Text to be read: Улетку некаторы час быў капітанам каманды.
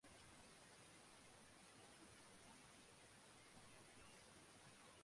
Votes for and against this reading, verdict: 0, 2, rejected